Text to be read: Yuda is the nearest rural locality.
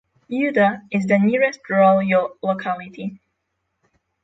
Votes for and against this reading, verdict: 3, 6, rejected